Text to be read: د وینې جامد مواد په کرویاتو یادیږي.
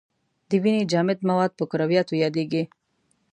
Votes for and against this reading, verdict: 2, 0, accepted